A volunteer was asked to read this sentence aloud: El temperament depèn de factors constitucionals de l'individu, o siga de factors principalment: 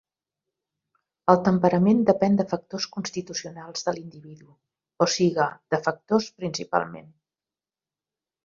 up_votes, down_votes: 2, 0